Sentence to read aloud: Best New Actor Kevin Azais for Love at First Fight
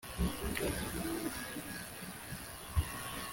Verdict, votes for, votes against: rejected, 0, 2